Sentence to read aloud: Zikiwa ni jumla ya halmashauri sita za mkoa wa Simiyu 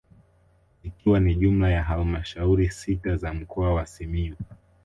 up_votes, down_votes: 2, 0